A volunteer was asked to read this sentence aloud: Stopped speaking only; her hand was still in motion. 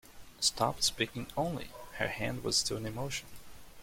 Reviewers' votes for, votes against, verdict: 2, 0, accepted